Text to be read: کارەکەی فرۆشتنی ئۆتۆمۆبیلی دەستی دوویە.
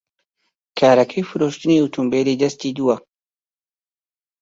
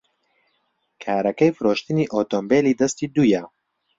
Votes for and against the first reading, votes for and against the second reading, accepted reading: 1, 2, 2, 0, second